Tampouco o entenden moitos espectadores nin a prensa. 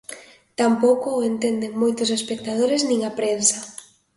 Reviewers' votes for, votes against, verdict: 2, 0, accepted